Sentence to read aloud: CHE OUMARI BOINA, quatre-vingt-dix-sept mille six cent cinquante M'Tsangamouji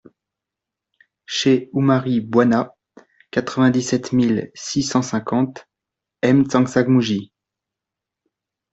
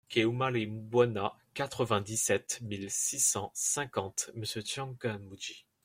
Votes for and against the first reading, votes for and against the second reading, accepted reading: 1, 2, 2, 0, second